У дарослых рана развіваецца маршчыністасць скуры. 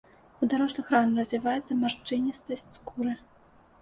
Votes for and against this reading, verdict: 2, 0, accepted